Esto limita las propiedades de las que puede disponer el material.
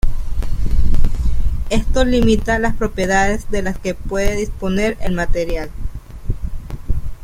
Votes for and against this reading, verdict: 2, 1, accepted